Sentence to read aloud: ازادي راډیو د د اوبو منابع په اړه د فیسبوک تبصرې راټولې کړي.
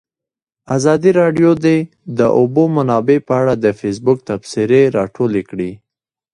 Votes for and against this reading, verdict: 1, 2, rejected